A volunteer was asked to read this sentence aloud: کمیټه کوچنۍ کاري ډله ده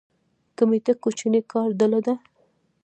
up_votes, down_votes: 2, 0